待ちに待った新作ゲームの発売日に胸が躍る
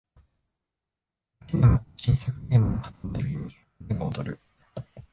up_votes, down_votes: 1, 3